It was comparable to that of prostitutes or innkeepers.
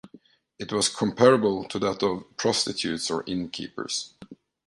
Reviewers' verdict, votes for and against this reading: accepted, 2, 0